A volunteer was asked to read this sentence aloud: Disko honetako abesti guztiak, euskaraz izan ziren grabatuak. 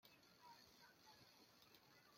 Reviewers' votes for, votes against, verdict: 0, 2, rejected